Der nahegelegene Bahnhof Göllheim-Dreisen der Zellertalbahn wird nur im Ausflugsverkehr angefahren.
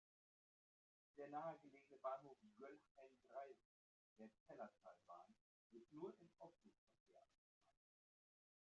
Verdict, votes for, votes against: rejected, 0, 2